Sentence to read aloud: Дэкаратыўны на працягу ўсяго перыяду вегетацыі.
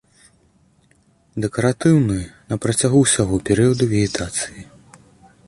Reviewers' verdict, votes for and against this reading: accepted, 2, 0